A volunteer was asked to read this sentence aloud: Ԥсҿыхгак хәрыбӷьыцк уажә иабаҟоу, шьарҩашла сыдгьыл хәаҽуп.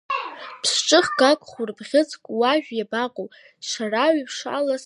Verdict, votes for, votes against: rejected, 0, 2